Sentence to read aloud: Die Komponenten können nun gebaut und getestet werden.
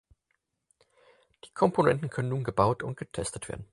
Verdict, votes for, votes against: accepted, 4, 0